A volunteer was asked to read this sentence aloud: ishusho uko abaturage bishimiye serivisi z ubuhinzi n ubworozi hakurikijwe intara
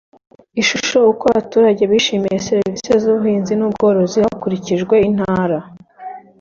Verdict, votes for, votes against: accepted, 2, 0